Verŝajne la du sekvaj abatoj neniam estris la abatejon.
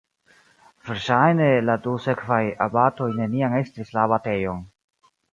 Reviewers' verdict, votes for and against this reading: accepted, 2, 0